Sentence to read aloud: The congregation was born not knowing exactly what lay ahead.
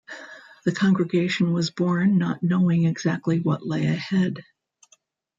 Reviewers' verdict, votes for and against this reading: rejected, 0, 2